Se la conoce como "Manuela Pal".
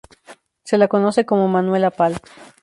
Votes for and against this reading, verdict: 2, 0, accepted